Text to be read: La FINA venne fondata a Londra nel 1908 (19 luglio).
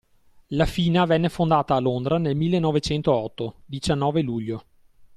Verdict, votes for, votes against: rejected, 0, 2